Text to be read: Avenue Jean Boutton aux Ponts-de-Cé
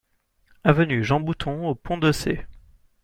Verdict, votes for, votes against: accepted, 2, 0